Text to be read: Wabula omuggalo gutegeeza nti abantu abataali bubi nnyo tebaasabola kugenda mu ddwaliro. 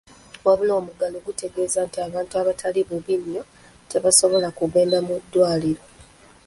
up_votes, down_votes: 2, 0